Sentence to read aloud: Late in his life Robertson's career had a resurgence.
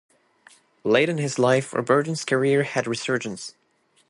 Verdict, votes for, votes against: accepted, 3, 0